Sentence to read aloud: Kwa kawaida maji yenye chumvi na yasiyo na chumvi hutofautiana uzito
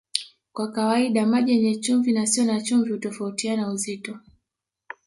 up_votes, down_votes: 2, 0